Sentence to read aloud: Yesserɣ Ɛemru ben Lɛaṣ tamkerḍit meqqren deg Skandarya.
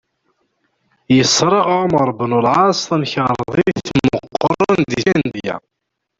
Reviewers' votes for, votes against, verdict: 0, 2, rejected